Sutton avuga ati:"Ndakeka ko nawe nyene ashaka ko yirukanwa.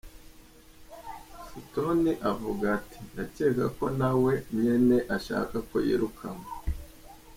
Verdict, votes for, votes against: accepted, 2, 0